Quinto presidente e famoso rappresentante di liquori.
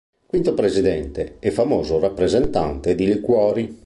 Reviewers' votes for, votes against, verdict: 3, 0, accepted